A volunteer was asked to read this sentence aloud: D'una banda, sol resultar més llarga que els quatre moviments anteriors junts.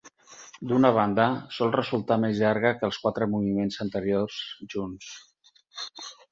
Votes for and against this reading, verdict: 6, 0, accepted